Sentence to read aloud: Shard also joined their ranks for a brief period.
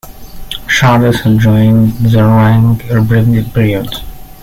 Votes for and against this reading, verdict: 1, 2, rejected